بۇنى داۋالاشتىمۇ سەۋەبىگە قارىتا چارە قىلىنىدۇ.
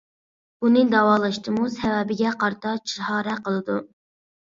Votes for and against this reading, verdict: 1, 2, rejected